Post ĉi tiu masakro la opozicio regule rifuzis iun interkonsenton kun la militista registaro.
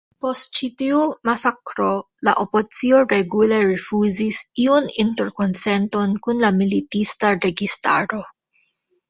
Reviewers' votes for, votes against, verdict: 2, 1, accepted